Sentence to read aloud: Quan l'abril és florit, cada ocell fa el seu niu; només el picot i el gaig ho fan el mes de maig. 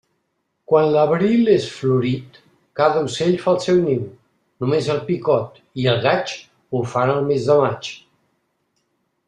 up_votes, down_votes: 2, 0